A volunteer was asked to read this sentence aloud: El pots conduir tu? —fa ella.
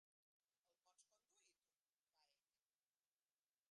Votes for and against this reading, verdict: 1, 2, rejected